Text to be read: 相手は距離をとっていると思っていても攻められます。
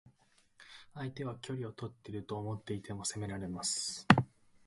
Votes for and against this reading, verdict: 2, 0, accepted